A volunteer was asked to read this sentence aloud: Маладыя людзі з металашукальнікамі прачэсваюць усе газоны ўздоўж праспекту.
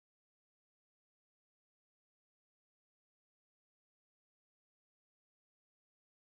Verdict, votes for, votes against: rejected, 0, 3